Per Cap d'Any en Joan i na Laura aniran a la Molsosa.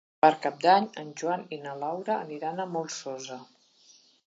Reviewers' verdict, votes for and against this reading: rejected, 1, 2